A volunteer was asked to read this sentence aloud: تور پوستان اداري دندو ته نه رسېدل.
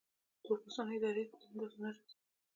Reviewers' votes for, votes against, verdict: 0, 2, rejected